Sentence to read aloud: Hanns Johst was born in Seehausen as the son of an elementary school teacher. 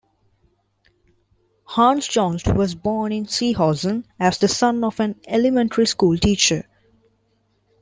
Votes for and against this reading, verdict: 1, 2, rejected